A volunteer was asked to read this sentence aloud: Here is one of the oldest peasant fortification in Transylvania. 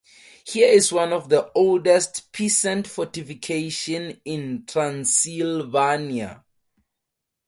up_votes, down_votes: 2, 2